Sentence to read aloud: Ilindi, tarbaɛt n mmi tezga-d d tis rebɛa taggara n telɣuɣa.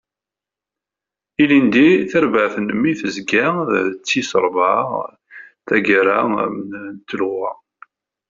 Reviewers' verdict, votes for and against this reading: rejected, 1, 2